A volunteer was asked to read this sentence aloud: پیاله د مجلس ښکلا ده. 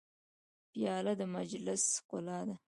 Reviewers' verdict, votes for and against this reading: accepted, 2, 0